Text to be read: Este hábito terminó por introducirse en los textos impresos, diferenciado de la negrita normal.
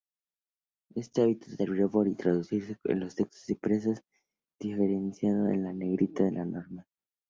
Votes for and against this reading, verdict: 0, 2, rejected